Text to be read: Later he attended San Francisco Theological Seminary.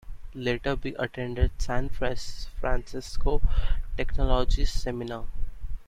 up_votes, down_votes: 0, 2